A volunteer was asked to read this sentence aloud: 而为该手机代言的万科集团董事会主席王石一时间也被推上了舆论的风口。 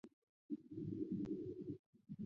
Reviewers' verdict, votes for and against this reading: rejected, 0, 2